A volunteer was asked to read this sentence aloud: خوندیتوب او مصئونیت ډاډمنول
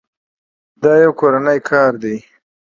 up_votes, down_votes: 0, 2